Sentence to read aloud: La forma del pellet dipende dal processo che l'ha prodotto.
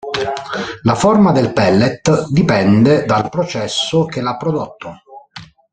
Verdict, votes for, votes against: rejected, 0, 2